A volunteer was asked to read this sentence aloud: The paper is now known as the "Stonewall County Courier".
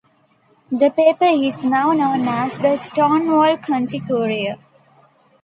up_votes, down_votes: 2, 0